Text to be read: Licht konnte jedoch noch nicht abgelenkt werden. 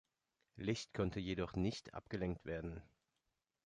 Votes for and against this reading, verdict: 1, 2, rejected